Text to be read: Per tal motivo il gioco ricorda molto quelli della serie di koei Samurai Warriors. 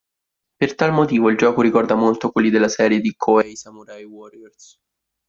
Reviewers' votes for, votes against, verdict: 2, 0, accepted